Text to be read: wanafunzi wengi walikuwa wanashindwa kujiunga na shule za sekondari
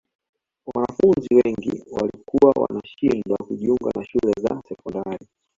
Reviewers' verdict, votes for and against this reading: rejected, 1, 2